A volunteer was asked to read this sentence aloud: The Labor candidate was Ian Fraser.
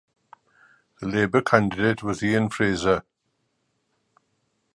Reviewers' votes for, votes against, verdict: 2, 1, accepted